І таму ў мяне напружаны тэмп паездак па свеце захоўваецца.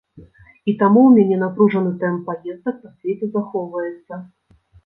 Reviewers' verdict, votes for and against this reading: rejected, 1, 2